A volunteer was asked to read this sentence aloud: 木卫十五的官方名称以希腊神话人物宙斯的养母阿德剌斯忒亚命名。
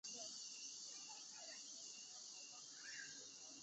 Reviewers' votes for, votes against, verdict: 2, 2, rejected